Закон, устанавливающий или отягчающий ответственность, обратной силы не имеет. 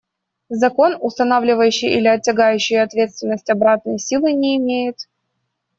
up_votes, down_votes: 1, 2